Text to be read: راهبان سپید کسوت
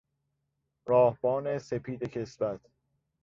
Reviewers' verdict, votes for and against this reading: rejected, 1, 2